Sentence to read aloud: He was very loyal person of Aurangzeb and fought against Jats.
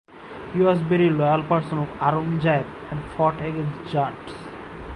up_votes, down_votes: 0, 4